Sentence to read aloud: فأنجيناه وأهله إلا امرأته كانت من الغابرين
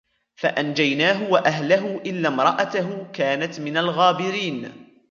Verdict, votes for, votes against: rejected, 1, 2